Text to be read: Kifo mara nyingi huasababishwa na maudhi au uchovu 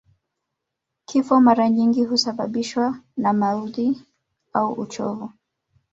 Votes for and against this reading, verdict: 2, 0, accepted